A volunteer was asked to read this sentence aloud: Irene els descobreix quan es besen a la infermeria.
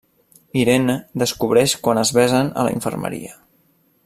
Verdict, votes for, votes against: rejected, 0, 2